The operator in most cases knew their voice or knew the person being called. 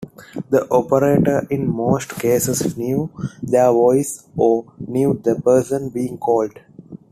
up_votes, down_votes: 2, 0